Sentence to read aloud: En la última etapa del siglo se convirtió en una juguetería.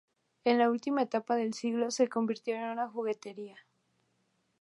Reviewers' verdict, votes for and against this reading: rejected, 0, 2